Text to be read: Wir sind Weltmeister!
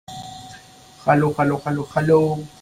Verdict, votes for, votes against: rejected, 0, 2